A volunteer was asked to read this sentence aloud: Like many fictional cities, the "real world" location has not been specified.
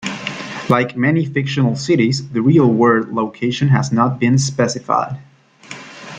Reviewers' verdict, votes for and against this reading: rejected, 1, 2